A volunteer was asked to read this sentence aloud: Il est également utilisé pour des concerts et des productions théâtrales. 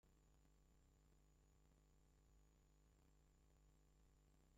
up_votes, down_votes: 0, 2